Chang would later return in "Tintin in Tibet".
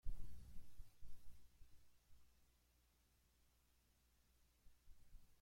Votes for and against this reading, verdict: 1, 2, rejected